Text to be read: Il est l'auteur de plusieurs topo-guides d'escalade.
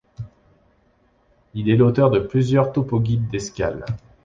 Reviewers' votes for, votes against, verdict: 0, 2, rejected